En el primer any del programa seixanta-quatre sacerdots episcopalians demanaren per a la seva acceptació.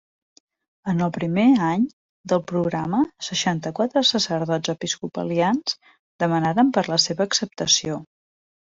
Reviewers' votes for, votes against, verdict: 2, 0, accepted